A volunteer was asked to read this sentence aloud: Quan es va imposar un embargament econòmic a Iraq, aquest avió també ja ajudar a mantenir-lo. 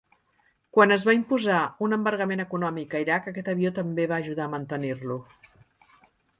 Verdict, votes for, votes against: rejected, 0, 2